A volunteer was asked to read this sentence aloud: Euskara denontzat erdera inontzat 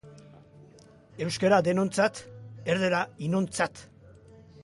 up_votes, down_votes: 2, 1